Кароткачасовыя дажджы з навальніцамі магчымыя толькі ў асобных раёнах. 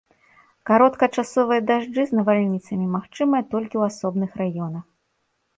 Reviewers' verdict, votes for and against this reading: accepted, 2, 0